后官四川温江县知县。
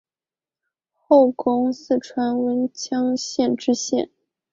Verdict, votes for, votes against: rejected, 2, 3